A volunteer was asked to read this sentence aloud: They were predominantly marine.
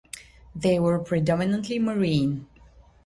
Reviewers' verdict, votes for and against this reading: accepted, 3, 0